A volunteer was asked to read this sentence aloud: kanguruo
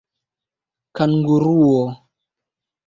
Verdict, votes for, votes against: rejected, 1, 2